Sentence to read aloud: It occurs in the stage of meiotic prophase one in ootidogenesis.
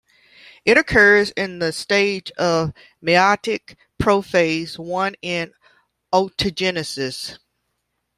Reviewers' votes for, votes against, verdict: 1, 2, rejected